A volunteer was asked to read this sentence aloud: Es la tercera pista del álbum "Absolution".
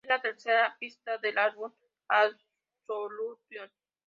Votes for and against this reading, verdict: 2, 0, accepted